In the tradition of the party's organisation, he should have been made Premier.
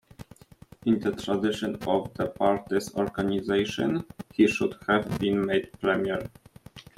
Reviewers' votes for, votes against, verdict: 2, 1, accepted